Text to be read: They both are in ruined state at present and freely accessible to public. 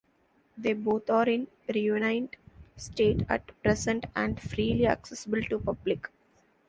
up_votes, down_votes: 1, 2